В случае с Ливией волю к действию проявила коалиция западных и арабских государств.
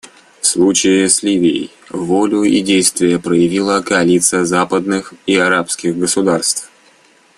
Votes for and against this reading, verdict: 0, 2, rejected